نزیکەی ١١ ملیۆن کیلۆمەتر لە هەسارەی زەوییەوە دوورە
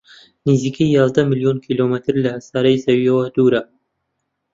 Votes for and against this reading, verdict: 0, 2, rejected